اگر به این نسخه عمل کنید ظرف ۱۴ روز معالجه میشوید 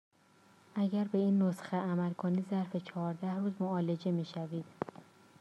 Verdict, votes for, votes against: rejected, 0, 2